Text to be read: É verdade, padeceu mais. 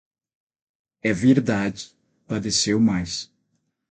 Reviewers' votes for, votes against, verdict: 6, 3, accepted